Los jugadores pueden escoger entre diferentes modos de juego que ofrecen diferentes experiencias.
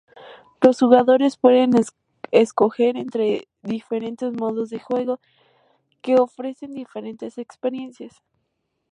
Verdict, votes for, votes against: rejected, 0, 2